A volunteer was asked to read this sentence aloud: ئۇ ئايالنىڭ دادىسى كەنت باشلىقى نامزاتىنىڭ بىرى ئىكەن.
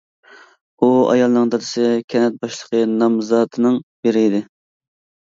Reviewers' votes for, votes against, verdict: 2, 0, accepted